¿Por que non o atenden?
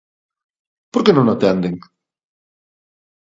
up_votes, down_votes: 2, 0